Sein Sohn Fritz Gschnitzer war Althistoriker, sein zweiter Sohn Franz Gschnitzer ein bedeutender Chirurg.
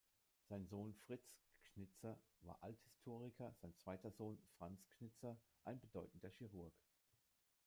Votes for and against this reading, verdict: 1, 2, rejected